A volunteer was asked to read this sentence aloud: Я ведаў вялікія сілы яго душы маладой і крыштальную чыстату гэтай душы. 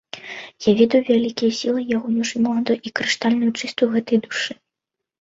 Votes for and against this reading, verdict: 0, 2, rejected